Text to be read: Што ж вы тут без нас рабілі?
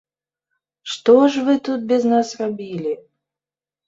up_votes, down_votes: 2, 0